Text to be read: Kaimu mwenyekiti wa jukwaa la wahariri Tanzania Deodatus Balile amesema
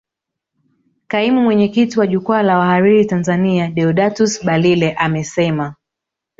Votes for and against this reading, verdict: 3, 0, accepted